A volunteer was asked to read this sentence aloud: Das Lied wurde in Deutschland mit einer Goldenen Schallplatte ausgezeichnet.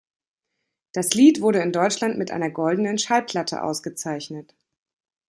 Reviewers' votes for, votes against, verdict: 2, 0, accepted